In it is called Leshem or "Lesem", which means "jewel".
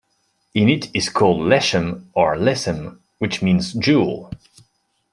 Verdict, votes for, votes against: rejected, 1, 2